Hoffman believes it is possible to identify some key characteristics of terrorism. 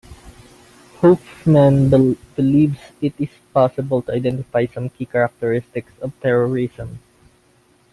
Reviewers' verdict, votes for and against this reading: rejected, 0, 2